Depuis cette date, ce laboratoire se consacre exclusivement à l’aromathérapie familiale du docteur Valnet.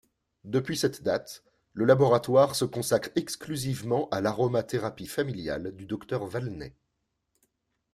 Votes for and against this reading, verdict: 2, 3, rejected